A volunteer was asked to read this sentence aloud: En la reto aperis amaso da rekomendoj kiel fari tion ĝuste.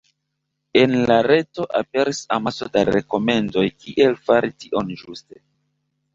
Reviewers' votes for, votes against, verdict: 0, 2, rejected